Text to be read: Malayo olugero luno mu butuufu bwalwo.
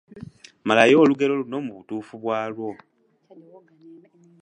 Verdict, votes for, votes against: accepted, 2, 0